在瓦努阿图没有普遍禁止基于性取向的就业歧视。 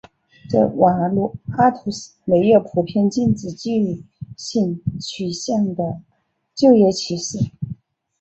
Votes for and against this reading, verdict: 2, 1, accepted